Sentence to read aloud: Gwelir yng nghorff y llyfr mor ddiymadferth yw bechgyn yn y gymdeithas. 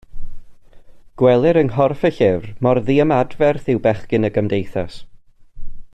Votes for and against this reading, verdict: 1, 2, rejected